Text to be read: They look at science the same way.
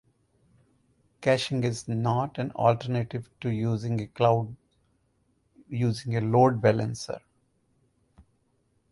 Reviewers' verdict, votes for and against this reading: rejected, 0, 4